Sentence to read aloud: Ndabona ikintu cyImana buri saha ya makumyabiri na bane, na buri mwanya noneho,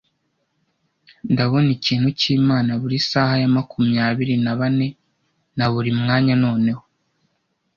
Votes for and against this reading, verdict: 2, 0, accepted